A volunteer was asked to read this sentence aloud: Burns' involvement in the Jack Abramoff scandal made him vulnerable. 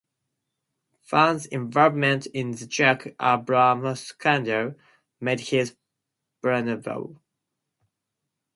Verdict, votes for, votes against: rejected, 0, 4